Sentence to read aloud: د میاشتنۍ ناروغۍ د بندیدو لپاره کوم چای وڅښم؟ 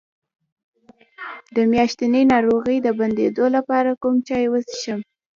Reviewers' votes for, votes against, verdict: 0, 2, rejected